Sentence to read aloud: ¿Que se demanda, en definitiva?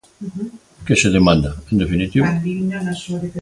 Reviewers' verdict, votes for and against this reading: accepted, 2, 0